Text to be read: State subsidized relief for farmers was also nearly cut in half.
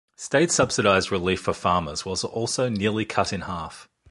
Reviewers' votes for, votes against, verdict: 2, 0, accepted